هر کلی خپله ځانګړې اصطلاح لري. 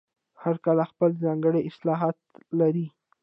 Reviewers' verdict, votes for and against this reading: rejected, 0, 2